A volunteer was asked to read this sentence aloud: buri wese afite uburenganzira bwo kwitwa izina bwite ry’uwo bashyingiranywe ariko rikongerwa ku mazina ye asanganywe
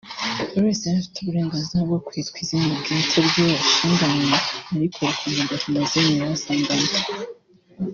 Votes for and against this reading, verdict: 1, 2, rejected